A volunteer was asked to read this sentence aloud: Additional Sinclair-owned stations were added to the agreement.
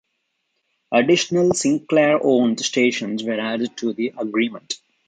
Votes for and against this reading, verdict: 2, 0, accepted